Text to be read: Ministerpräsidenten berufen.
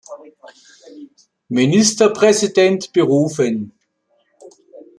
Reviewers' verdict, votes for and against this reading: rejected, 0, 2